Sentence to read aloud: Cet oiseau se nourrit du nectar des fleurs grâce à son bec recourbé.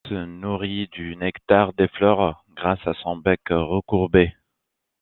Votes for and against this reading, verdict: 0, 2, rejected